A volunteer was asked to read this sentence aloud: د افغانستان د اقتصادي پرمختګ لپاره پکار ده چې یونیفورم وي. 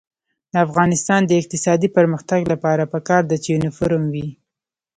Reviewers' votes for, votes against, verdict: 0, 2, rejected